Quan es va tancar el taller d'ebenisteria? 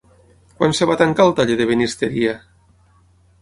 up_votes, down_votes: 3, 6